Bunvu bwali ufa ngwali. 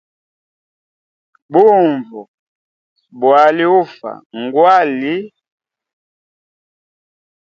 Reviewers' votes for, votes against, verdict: 2, 0, accepted